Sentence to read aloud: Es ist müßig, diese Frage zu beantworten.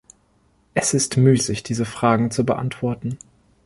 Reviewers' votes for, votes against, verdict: 0, 2, rejected